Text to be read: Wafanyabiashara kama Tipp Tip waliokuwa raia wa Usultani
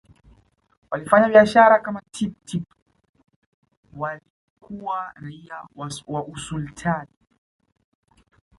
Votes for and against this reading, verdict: 1, 2, rejected